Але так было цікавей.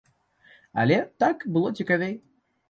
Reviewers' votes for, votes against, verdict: 3, 0, accepted